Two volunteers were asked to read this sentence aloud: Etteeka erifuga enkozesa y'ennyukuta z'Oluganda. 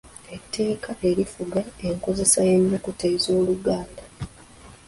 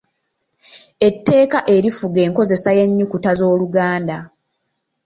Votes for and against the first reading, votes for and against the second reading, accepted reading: 1, 2, 2, 0, second